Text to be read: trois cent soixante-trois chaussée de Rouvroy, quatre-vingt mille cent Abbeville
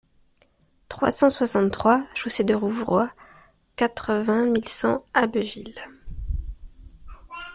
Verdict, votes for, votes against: accepted, 2, 0